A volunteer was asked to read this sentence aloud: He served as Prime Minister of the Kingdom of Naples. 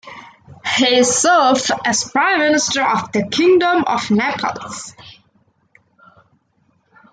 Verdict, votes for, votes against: accepted, 2, 1